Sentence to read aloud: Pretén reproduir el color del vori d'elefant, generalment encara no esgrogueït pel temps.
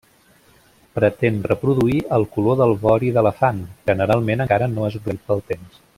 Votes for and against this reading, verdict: 1, 2, rejected